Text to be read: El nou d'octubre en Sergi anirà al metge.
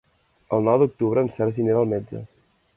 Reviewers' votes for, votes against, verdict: 2, 0, accepted